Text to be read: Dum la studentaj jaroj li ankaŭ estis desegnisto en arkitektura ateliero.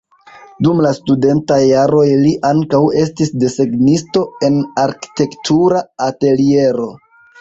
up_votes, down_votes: 2, 0